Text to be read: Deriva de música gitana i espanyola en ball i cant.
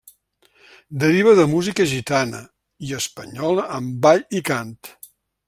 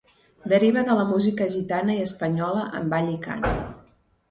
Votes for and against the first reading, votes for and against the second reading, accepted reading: 2, 0, 1, 2, first